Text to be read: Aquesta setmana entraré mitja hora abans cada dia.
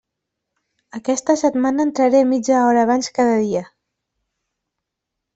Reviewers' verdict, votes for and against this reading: accepted, 3, 0